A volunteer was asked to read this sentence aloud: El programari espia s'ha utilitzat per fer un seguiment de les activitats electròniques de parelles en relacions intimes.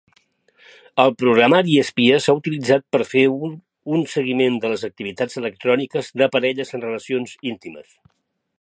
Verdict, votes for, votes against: rejected, 0, 2